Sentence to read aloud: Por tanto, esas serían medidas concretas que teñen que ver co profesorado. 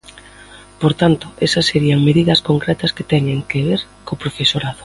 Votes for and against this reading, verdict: 2, 0, accepted